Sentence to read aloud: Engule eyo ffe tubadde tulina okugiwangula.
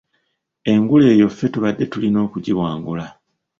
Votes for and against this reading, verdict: 1, 2, rejected